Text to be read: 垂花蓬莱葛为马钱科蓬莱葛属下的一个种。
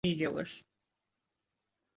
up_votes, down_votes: 0, 2